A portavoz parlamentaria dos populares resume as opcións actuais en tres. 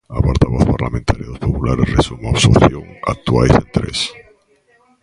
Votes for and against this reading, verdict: 0, 2, rejected